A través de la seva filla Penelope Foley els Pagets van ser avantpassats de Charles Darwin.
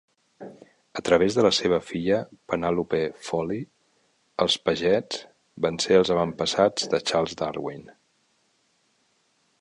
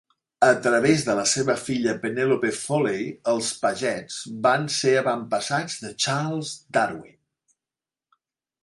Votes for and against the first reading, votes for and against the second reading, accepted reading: 1, 2, 3, 0, second